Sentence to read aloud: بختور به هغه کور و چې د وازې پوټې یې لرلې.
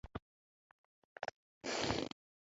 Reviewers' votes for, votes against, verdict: 0, 2, rejected